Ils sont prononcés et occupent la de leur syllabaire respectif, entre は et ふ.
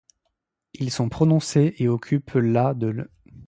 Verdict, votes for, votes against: rejected, 1, 2